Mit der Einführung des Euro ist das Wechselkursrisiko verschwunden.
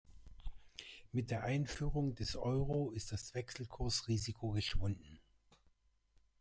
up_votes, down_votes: 0, 2